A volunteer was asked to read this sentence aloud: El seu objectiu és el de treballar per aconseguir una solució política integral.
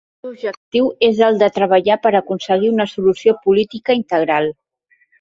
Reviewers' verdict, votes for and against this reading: rejected, 1, 2